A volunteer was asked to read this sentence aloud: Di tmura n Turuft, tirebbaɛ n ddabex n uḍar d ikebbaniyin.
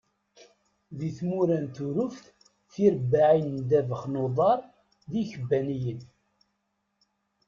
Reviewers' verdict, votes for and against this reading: rejected, 1, 2